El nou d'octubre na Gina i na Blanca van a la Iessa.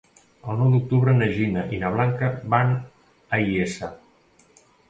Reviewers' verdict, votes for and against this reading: rejected, 1, 2